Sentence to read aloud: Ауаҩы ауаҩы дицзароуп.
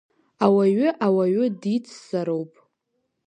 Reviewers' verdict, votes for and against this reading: accepted, 2, 0